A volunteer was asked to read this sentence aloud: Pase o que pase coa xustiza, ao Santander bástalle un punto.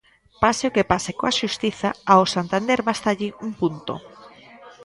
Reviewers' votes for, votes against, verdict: 0, 2, rejected